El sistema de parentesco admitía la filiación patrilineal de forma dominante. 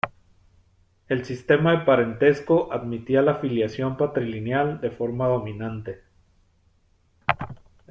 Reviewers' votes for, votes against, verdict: 2, 0, accepted